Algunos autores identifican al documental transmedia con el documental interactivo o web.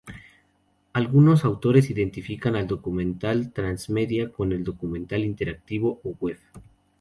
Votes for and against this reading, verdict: 0, 2, rejected